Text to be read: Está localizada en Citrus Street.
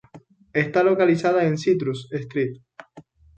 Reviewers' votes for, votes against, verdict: 2, 0, accepted